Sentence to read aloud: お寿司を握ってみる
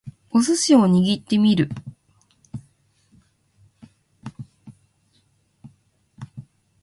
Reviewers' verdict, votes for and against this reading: accepted, 2, 0